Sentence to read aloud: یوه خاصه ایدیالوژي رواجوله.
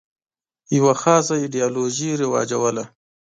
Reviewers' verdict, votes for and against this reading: accepted, 2, 0